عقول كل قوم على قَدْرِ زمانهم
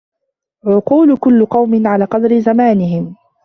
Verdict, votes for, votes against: accepted, 2, 0